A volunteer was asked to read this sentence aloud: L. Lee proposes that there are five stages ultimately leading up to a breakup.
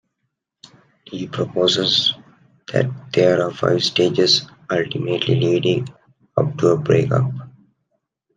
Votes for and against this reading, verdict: 0, 2, rejected